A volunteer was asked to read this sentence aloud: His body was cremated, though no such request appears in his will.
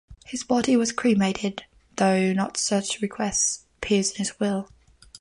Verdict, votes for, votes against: rejected, 1, 2